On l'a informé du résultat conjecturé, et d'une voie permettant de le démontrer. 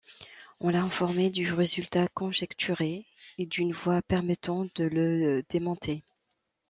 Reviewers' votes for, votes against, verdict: 0, 2, rejected